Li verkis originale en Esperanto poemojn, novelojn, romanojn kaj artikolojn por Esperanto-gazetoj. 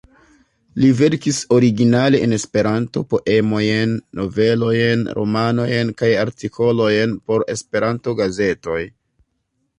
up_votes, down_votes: 0, 2